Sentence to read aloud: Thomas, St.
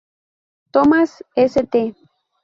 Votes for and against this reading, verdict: 2, 2, rejected